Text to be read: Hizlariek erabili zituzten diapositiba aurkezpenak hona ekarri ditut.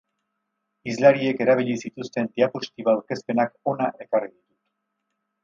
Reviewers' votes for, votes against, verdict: 2, 6, rejected